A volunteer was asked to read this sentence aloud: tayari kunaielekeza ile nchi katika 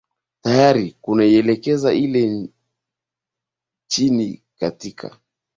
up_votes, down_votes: 0, 2